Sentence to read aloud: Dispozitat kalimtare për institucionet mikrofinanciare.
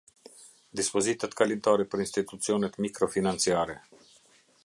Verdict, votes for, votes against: accepted, 2, 0